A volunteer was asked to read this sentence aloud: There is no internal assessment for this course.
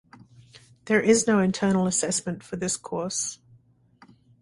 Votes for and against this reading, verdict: 2, 1, accepted